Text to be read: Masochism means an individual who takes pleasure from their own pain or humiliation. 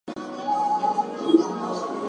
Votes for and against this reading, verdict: 0, 2, rejected